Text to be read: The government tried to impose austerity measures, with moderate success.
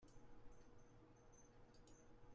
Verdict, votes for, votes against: rejected, 0, 2